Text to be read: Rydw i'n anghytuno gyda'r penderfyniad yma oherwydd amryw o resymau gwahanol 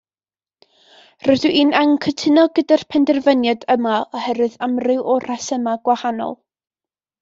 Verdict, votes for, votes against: rejected, 0, 2